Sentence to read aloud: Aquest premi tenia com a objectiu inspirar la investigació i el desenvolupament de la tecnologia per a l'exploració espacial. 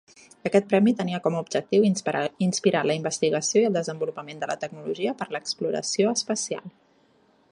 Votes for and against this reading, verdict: 1, 2, rejected